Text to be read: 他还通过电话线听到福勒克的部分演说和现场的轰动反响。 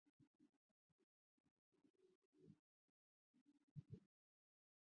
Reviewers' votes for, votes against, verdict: 0, 4, rejected